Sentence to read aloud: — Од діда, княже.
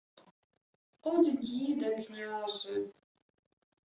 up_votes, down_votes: 2, 1